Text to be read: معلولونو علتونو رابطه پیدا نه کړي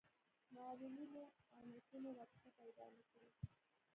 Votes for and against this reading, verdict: 1, 2, rejected